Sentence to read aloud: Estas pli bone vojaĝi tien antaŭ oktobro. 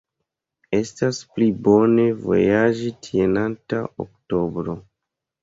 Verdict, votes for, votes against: accepted, 2, 1